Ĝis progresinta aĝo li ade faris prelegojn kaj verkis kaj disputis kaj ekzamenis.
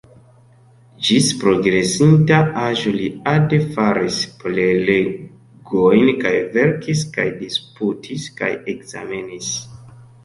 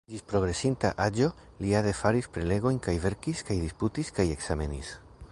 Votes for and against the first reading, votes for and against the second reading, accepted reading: 0, 2, 2, 1, second